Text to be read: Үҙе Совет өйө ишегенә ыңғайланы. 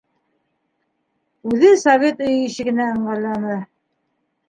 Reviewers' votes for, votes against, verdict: 2, 0, accepted